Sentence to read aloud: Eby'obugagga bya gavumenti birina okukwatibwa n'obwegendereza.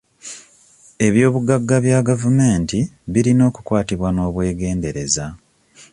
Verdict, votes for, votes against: accepted, 2, 0